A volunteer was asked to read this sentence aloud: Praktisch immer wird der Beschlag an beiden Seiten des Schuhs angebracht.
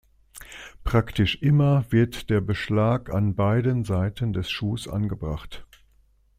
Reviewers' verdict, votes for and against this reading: accepted, 2, 0